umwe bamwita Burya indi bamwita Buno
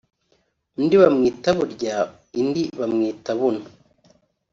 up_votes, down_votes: 1, 3